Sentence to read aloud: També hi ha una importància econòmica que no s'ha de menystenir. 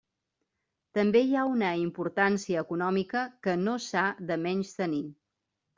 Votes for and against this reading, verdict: 1, 2, rejected